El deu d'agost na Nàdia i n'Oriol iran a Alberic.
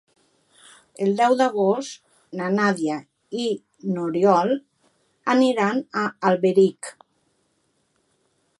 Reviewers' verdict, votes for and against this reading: rejected, 0, 6